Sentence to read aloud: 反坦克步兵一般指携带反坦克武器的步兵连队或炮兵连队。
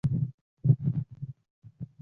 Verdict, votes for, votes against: rejected, 0, 2